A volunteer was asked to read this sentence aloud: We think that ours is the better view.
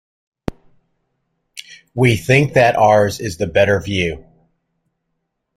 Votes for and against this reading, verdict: 2, 0, accepted